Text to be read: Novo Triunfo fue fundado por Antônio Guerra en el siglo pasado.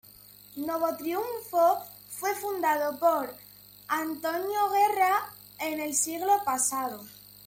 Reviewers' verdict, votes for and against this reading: rejected, 1, 2